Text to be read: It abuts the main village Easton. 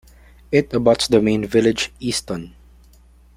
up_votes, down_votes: 2, 0